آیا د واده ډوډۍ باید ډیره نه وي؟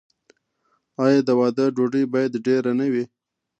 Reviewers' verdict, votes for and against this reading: accepted, 2, 0